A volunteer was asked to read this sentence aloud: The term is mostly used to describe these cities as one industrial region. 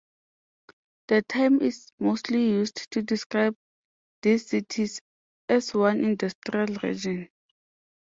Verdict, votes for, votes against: accepted, 2, 0